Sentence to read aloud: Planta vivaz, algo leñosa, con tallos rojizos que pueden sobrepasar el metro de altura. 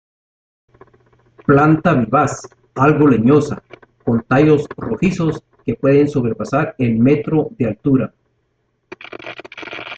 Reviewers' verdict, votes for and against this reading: rejected, 1, 2